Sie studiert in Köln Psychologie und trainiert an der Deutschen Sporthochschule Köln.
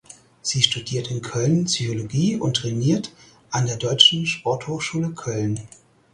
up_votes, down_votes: 4, 0